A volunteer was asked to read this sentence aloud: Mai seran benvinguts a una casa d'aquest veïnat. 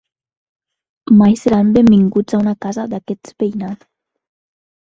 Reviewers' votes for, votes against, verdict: 1, 2, rejected